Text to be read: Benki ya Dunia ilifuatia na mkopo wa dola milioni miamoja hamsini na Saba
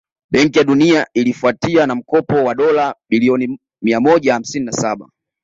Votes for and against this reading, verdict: 2, 0, accepted